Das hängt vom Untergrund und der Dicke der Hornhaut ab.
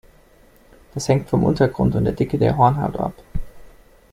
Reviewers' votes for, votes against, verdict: 2, 0, accepted